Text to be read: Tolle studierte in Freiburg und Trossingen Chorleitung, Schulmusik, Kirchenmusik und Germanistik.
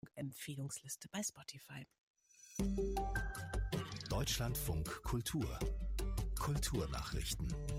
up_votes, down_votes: 0, 2